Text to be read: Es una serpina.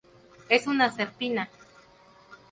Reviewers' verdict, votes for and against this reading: accepted, 2, 0